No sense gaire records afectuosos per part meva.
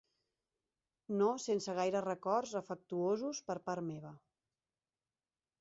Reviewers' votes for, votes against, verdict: 2, 0, accepted